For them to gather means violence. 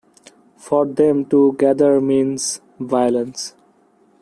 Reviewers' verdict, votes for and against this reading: accepted, 2, 1